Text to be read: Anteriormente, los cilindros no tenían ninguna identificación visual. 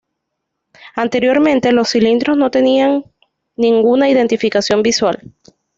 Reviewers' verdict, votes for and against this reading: accepted, 2, 0